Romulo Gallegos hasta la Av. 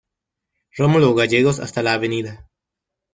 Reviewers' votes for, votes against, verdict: 2, 0, accepted